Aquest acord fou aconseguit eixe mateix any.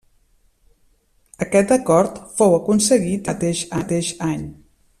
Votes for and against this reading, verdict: 0, 2, rejected